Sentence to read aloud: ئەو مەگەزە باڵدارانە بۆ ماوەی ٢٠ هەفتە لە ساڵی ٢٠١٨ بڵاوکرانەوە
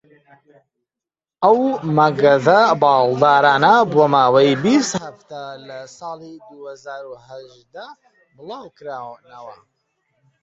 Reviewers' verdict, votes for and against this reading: rejected, 0, 2